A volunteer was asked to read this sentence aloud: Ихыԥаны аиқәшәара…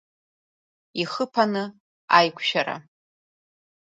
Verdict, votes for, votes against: rejected, 0, 2